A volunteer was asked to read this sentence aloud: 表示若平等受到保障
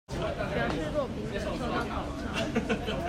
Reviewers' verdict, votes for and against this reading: rejected, 1, 2